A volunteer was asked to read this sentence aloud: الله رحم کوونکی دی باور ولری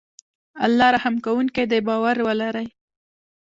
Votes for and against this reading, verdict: 1, 2, rejected